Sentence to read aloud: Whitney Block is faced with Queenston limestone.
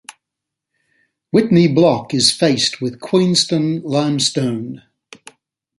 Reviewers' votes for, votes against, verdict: 2, 0, accepted